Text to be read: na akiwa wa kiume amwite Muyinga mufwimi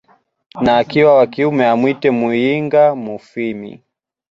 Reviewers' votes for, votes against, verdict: 2, 0, accepted